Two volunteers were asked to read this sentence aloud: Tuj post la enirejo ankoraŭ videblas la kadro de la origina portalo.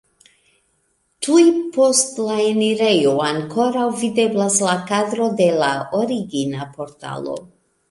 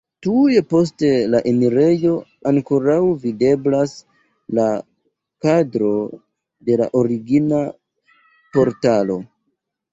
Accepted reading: first